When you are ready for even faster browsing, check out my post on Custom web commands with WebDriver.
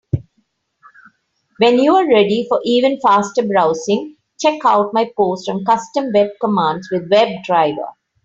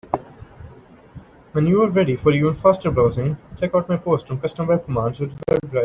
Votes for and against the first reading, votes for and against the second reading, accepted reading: 3, 0, 0, 3, first